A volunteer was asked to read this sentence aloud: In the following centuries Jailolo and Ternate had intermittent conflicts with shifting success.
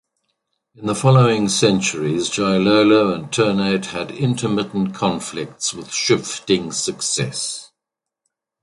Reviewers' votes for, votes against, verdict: 2, 0, accepted